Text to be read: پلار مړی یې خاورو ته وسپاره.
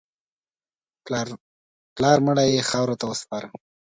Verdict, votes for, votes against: accepted, 2, 1